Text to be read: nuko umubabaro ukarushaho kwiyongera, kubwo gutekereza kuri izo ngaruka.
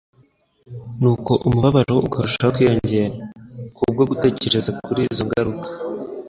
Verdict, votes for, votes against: accepted, 2, 0